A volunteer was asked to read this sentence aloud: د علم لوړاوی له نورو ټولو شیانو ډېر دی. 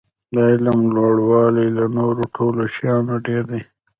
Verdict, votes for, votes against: rejected, 1, 2